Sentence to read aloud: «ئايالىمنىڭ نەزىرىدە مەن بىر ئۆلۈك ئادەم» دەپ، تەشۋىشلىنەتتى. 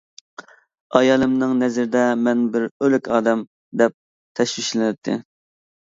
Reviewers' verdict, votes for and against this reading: accepted, 2, 0